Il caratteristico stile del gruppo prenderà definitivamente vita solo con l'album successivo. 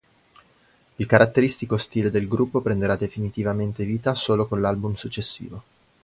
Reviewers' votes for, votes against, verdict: 2, 0, accepted